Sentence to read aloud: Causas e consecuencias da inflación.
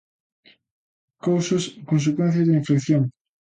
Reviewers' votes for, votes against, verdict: 2, 1, accepted